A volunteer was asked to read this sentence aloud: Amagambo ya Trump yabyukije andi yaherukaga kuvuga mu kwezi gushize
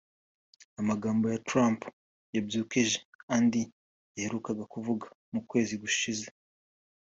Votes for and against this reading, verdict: 2, 0, accepted